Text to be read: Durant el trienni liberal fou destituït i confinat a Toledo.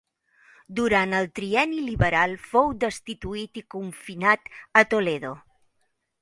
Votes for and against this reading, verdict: 2, 0, accepted